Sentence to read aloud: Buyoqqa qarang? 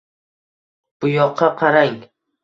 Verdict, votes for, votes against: accepted, 2, 0